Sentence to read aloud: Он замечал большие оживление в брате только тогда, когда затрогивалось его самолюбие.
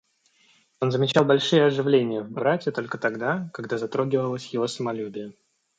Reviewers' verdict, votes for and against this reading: accepted, 2, 0